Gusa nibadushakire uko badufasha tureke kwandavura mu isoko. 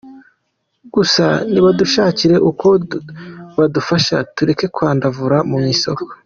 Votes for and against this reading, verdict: 2, 0, accepted